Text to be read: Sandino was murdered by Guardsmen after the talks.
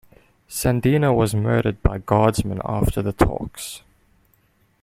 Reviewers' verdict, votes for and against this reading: accepted, 2, 0